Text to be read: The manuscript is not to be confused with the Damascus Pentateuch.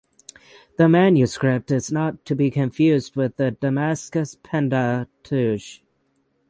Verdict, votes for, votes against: rejected, 3, 6